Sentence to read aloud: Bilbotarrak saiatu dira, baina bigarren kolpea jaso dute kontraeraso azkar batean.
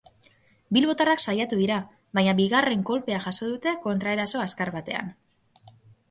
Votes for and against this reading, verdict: 4, 0, accepted